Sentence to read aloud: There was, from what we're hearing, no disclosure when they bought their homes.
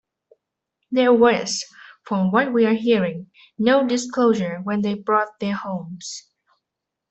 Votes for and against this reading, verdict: 0, 2, rejected